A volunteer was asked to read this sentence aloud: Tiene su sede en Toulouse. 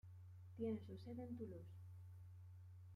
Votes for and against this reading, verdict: 2, 1, accepted